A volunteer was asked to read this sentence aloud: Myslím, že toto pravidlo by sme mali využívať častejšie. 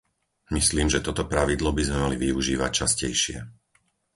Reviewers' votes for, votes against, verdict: 4, 0, accepted